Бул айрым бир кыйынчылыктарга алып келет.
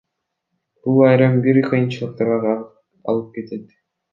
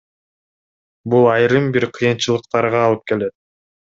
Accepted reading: second